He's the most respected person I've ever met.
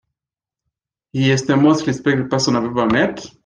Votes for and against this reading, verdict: 1, 2, rejected